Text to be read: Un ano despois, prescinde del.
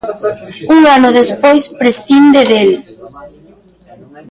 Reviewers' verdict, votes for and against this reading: rejected, 0, 2